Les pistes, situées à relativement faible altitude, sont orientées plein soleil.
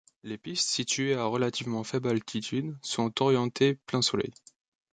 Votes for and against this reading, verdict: 2, 0, accepted